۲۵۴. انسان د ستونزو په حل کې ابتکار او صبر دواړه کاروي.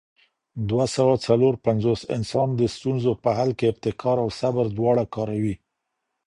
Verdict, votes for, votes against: rejected, 0, 2